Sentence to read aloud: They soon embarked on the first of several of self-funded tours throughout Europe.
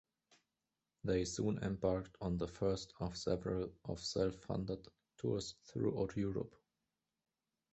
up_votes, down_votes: 1, 2